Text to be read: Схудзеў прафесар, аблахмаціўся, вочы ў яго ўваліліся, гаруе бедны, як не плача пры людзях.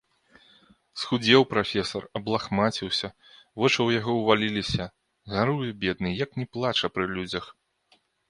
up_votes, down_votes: 2, 0